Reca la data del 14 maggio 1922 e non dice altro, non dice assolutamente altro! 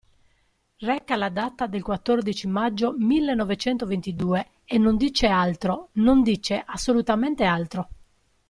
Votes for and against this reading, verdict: 0, 2, rejected